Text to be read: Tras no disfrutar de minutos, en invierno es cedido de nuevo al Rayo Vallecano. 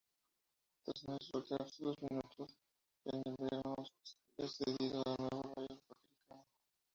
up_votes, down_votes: 0, 2